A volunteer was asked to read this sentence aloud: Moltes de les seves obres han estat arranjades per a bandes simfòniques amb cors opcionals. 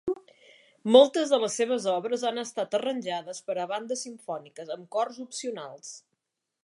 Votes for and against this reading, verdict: 2, 0, accepted